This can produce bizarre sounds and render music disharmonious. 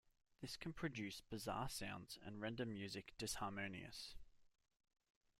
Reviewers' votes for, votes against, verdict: 2, 1, accepted